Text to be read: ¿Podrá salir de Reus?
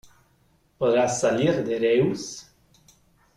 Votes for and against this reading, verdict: 2, 0, accepted